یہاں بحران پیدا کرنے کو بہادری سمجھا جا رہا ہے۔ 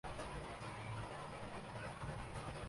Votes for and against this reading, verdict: 0, 3, rejected